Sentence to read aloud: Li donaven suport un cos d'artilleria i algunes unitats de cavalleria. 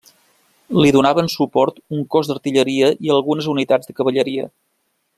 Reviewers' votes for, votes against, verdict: 3, 0, accepted